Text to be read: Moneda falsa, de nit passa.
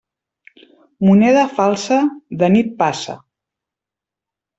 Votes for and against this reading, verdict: 3, 0, accepted